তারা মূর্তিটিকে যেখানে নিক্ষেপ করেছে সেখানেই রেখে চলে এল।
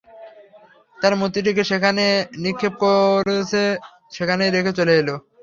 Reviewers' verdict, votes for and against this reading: rejected, 0, 3